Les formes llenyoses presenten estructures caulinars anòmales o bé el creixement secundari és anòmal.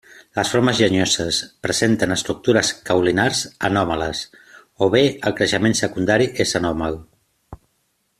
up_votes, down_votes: 2, 0